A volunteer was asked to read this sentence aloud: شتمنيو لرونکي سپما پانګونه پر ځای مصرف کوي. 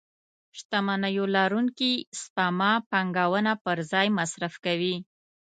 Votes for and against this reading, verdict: 2, 0, accepted